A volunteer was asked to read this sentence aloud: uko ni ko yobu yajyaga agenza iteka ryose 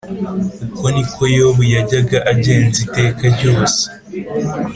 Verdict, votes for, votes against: accepted, 3, 0